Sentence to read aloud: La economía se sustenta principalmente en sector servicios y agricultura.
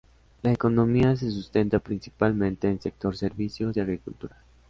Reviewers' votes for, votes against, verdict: 2, 1, accepted